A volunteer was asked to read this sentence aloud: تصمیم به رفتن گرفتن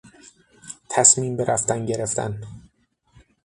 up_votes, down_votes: 6, 0